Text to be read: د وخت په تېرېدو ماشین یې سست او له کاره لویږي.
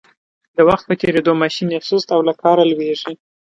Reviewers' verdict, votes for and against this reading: accepted, 2, 0